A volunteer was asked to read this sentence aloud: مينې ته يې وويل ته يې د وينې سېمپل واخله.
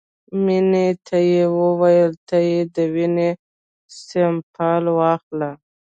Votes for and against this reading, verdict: 1, 2, rejected